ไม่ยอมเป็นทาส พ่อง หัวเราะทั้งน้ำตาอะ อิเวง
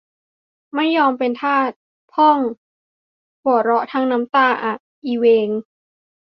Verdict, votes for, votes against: accepted, 2, 0